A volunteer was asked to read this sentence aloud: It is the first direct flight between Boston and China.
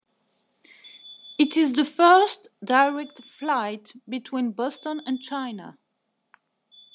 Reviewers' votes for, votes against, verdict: 2, 0, accepted